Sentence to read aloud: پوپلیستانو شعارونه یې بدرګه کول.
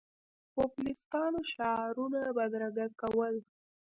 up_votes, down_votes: 0, 2